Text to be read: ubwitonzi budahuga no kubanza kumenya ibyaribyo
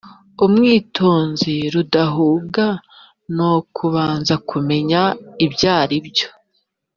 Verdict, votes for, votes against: rejected, 1, 2